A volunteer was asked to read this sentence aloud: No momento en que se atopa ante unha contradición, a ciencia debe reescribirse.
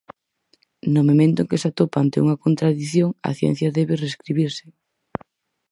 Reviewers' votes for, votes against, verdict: 4, 0, accepted